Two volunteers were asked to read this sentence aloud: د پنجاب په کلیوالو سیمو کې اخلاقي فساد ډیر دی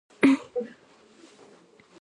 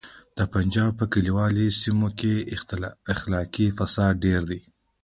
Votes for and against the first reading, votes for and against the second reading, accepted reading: 0, 2, 2, 1, second